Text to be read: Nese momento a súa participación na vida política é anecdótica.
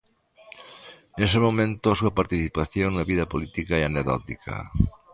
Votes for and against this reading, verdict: 2, 0, accepted